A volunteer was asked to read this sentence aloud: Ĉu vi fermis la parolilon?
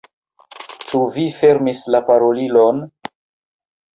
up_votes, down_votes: 3, 2